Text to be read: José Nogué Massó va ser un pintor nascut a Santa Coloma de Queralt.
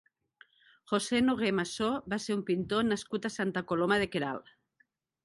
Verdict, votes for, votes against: accepted, 2, 0